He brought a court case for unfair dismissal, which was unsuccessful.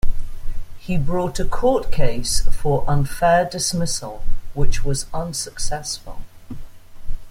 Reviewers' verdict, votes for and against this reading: accepted, 2, 0